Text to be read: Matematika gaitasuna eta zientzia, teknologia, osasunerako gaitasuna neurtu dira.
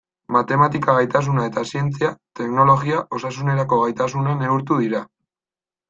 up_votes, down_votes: 2, 0